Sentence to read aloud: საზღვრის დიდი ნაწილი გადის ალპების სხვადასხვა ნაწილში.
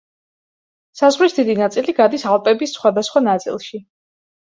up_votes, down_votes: 2, 0